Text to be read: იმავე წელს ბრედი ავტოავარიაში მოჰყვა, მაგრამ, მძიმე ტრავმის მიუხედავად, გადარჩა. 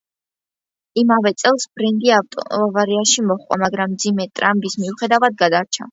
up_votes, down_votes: 1, 2